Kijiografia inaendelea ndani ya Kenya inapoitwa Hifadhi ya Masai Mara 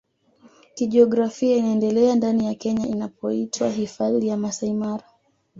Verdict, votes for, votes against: accepted, 2, 0